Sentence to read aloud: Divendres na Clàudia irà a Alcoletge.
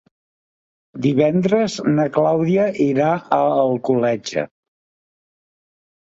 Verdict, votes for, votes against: accepted, 3, 0